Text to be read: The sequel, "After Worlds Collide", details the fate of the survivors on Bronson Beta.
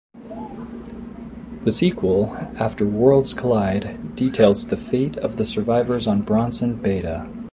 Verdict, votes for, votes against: accepted, 2, 0